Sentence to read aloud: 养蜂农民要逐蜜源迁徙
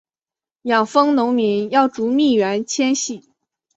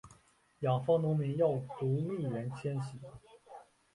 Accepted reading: second